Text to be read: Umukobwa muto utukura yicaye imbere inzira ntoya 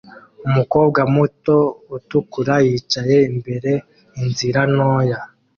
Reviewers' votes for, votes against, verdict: 2, 0, accepted